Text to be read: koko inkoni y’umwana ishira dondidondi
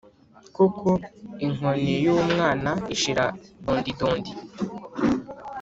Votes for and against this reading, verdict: 2, 0, accepted